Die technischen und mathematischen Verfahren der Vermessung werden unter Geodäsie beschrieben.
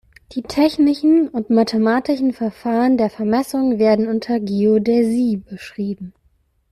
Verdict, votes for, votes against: accepted, 2, 0